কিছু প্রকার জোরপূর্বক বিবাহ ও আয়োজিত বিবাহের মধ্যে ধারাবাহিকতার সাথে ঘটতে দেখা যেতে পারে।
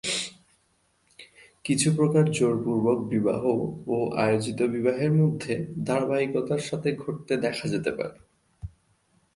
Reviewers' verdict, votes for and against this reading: accepted, 2, 0